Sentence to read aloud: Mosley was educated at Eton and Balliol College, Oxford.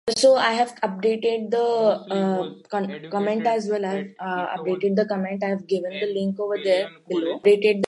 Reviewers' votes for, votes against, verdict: 0, 2, rejected